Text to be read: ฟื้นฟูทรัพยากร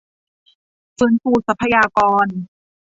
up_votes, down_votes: 1, 2